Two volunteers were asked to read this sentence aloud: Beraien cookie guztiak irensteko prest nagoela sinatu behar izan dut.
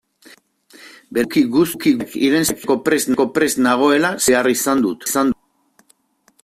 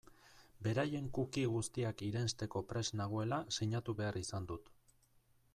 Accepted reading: second